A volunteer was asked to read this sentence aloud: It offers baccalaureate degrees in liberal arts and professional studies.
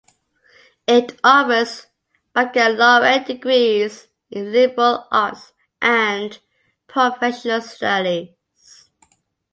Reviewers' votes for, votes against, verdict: 2, 0, accepted